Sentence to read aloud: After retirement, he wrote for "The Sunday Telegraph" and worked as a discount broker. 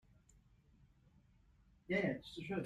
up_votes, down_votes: 0, 2